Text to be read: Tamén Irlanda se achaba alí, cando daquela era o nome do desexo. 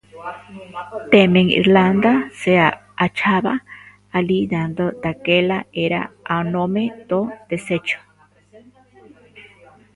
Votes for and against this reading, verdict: 0, 2, rejected